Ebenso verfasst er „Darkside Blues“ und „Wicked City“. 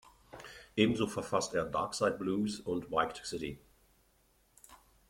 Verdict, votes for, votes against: rejected, 1, 2